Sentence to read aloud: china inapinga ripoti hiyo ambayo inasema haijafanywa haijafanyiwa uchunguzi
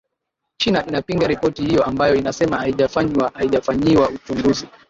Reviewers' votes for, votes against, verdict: 1, 2, rejected